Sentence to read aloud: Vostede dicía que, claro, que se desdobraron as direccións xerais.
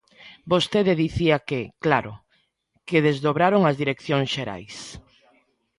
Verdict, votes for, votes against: rejected, 1, 3